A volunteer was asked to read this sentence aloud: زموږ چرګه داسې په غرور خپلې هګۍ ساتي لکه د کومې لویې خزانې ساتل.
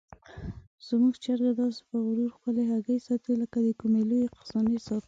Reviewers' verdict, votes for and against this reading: rejected, 0, 2